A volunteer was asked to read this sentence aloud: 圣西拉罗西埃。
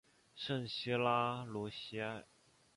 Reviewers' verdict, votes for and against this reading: accepted, 6, 0